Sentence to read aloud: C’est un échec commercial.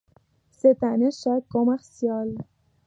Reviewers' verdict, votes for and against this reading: accepted, 2, 0